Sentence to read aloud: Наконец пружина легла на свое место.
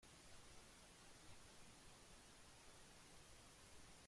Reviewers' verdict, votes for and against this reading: rejected, 0, 2